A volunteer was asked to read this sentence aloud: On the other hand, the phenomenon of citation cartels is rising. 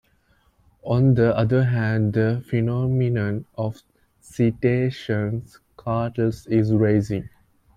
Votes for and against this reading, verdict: 0, 2, rejected